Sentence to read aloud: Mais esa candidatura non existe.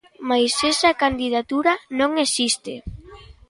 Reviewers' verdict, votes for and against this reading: rejected, 0, 2